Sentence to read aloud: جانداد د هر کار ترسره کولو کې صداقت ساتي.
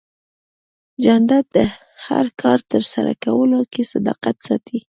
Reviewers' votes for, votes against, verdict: 2, 0, accepted